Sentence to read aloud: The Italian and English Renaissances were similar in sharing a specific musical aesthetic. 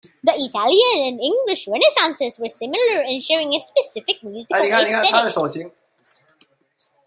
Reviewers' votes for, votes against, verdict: 0, 3, rejected